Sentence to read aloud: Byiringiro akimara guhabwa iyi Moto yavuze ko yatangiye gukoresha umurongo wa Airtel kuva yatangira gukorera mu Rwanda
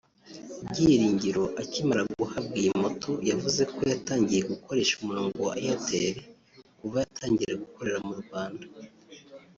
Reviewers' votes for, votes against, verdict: 0, 2, rejected